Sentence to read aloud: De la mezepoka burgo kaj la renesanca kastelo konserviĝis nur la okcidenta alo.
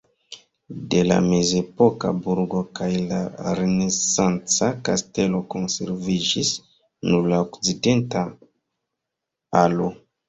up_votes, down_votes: 0, 2